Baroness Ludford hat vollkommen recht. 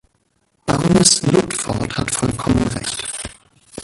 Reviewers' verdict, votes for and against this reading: rejected, 0, 2